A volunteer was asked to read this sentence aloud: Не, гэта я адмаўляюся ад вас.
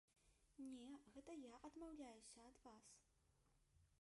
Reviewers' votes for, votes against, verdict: 0, 2, rejected